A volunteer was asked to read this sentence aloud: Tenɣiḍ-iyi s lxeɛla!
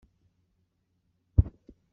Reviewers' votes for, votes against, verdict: 1, 2, rejected